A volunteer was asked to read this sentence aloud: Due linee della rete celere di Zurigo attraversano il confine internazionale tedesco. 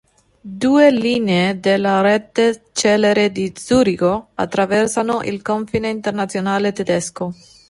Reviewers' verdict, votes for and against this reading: accepted, 2, 0